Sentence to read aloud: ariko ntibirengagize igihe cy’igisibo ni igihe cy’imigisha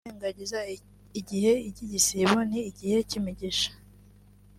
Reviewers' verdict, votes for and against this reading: rejected, 1, 2